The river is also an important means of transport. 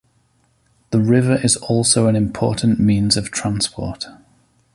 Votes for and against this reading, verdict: 2, 0, accepted